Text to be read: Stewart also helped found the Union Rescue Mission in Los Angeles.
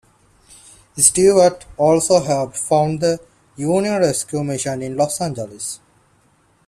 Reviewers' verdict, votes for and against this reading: accepted, 2, 0